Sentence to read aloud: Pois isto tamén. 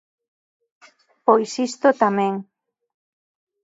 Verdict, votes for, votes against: accepted, 3, 0